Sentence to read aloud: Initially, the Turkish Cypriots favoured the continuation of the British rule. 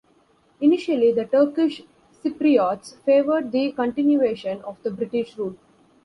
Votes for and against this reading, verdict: 2, 0, accepted